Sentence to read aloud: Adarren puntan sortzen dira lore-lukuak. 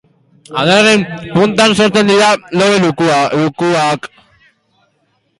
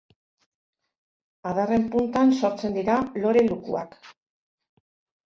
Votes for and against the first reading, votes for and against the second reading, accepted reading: 0, 2, 2, 0, second